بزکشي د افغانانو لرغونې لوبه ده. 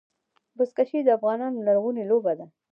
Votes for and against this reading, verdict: 1, 2, rejected